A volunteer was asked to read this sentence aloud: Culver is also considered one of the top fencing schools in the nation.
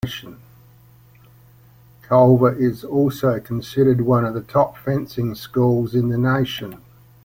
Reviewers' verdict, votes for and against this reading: accepted, 2, 0